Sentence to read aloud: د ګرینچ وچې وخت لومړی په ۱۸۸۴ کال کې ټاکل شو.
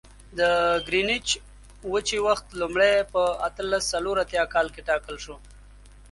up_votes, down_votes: 0, 2